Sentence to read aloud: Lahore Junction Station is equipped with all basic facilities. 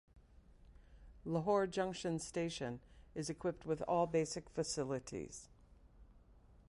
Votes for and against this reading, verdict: 2, 1, accepted